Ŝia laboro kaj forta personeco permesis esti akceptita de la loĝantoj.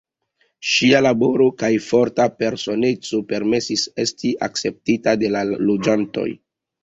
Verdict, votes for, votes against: rejected, 0, 2